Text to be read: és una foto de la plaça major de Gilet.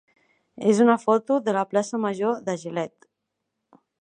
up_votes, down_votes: 3, 0